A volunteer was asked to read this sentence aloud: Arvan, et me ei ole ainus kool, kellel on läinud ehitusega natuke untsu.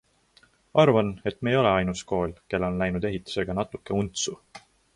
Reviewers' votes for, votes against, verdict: 2, 0, accepted